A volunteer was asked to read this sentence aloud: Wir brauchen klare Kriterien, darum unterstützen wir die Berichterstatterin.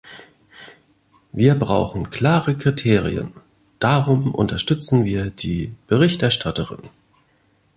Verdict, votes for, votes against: accepted, 2, 0